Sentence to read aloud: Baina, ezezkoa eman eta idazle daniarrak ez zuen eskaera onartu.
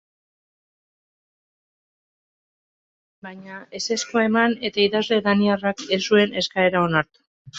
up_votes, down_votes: 2, 1